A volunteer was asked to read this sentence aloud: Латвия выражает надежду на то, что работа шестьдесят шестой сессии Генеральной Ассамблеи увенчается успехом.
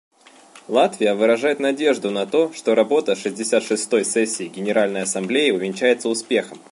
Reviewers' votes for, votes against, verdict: 1, 2, rejected